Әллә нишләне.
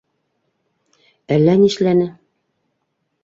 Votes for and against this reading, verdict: 2, 0, accepted